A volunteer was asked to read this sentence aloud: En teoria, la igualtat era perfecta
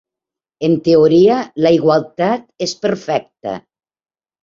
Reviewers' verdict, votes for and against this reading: rejected, 0, 3